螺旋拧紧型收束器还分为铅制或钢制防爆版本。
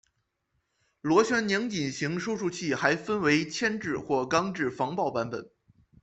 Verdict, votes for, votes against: accepted, 2, 0